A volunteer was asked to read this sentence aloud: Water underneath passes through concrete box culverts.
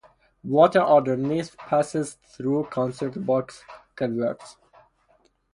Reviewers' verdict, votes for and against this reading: accepted, 2, 0